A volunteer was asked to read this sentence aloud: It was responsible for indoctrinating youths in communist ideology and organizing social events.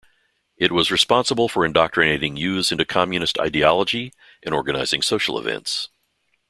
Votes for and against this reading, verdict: 0, 2, rejected